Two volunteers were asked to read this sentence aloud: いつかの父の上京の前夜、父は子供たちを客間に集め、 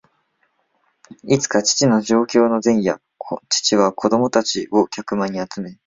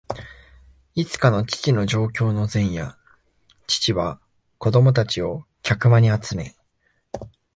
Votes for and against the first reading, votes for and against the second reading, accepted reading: 0, 2, 2, 0, second